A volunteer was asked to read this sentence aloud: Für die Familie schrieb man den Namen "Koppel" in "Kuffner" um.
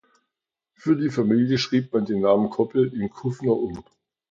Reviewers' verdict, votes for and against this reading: accepted, 2, 0